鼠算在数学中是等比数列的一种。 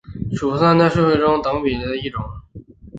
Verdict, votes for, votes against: rejected, 2, 3